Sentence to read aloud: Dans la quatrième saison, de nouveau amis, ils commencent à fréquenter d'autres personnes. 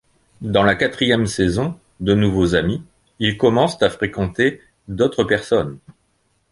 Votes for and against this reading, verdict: 0, 2, rejected